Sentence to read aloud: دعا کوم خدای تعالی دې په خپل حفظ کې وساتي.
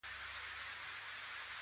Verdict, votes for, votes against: rejected, 0, 2